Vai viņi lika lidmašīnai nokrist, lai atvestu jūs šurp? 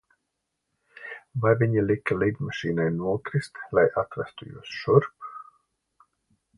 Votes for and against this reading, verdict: 2, 0, accepted